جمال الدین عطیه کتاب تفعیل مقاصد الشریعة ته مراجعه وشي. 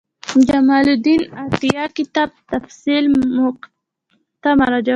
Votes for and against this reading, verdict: 0, 2, rejected